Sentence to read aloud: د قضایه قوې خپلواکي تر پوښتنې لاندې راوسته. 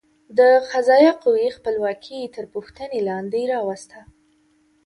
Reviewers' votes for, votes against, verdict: 2, 0, accepted